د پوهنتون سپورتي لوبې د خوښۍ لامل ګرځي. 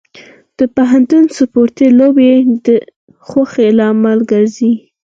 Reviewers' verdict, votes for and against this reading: accepted, 4, 0